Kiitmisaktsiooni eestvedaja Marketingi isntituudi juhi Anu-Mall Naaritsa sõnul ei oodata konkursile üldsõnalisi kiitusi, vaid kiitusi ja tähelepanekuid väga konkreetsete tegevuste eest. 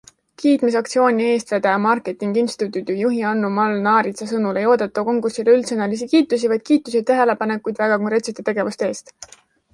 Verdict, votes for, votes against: accepted, 2, 0